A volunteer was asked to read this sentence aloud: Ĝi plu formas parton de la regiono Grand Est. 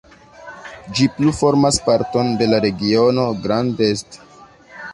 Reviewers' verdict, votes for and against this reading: accepted, 2, 0